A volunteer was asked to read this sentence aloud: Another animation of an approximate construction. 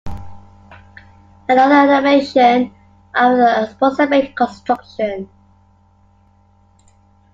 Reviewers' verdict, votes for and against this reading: accepted, 2, 1